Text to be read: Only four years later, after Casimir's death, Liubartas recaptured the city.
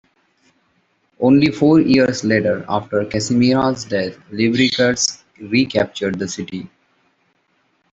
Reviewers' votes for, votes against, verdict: 3, 0, accepted